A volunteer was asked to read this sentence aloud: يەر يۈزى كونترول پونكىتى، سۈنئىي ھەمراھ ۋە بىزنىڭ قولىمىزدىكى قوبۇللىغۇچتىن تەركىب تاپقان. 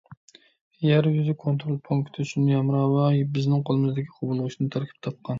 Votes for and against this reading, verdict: 1, 2, rejected